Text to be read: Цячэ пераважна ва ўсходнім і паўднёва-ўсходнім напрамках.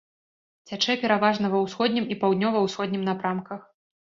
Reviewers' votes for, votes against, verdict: 2, 0, accepted